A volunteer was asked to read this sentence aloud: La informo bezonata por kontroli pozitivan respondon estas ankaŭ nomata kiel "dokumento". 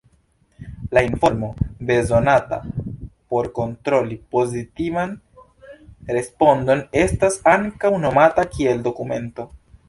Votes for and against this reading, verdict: 2, 1, accepted